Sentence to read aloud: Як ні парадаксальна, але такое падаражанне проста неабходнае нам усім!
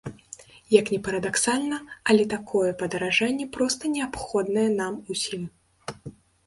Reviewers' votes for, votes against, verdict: 0, 2, rejected